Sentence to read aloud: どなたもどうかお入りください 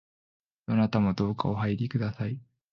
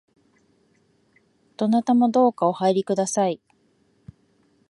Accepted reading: second